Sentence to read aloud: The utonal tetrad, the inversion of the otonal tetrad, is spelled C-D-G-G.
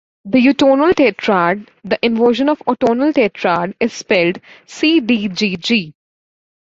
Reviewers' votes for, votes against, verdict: 2, 1, accepted